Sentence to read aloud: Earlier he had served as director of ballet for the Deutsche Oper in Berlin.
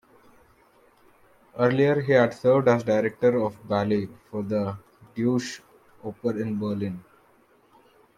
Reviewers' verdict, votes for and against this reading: accepted, 2, 0